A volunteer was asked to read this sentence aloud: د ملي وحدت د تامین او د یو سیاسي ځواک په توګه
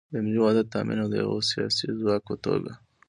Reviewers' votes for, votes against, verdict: 1, 2, rejected